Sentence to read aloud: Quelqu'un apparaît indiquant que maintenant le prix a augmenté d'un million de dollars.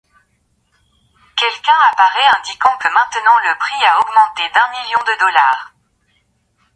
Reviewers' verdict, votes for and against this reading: rejected, 1, 2